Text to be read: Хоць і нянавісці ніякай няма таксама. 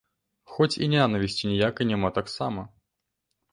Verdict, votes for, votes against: rejected, 0, 2